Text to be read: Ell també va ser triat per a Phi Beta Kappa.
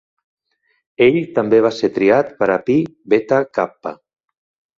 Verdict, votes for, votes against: accepted, 2, 0